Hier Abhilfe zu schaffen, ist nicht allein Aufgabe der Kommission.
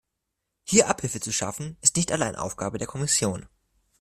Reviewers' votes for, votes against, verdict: 2, 0, accepted